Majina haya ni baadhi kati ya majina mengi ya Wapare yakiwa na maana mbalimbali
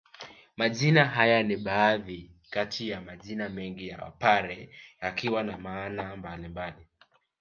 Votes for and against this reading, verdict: 1, 2, rejected